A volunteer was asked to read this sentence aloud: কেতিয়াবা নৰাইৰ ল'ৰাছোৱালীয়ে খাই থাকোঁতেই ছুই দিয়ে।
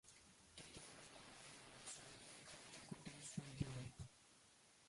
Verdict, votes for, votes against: rejected, 0, 2